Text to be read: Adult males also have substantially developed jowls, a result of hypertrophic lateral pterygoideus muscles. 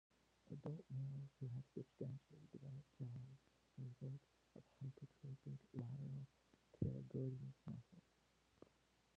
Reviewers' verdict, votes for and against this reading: rejected, 0, 2